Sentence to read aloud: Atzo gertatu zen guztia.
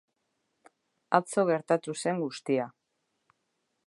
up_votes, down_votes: 1, 2